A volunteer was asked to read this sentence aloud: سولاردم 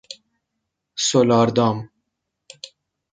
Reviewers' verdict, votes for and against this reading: rejected, 1, 2